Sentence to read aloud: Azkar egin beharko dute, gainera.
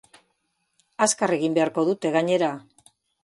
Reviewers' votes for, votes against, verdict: 2, 0, accepted